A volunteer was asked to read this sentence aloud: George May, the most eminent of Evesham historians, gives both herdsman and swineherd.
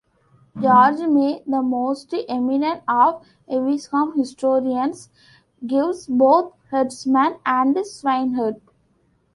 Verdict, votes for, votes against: accepted, 2, 0